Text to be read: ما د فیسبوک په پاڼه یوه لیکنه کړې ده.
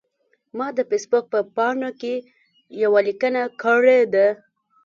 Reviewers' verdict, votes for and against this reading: rejected, 0, 2